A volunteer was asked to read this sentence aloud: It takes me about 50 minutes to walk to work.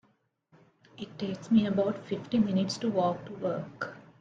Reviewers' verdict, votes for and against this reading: rejected, 0, 2